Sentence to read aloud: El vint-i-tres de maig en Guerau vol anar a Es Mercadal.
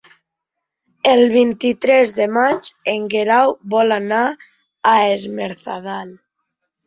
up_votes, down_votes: 0, 2